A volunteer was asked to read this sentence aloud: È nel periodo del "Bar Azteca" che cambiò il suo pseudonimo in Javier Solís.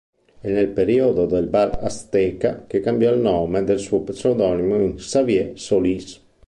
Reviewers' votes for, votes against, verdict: 3, 4, rejected